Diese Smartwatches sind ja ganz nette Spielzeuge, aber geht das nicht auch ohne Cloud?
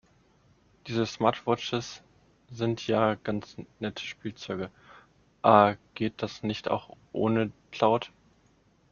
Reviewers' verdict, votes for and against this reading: rejected, 0, 2